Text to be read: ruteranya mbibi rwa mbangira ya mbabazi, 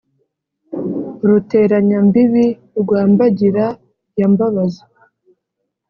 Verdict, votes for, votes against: accepted, 2, 0